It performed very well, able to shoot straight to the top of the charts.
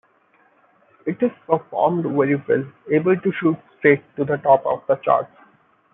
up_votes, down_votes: 1, 2